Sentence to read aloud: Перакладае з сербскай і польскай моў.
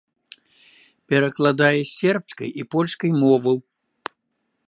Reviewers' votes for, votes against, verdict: 0, 2, rejected